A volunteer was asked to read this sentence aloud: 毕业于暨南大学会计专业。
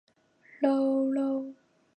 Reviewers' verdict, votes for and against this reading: rejected, 1, 2